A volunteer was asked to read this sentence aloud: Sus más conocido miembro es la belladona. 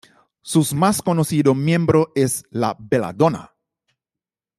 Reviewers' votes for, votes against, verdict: 2, 0, accepted